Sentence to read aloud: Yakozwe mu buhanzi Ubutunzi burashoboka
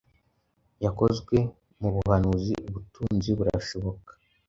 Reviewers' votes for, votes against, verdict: 1, 2, rejected